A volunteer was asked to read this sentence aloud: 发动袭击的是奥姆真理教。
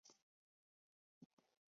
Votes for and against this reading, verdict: 2, 6, rejected